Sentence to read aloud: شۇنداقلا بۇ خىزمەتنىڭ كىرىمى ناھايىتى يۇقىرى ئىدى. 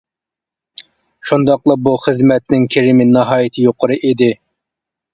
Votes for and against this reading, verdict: 2, 0, accepted